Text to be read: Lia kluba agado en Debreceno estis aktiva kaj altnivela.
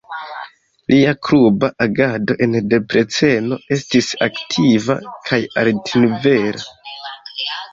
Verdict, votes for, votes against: rejected, 1, 2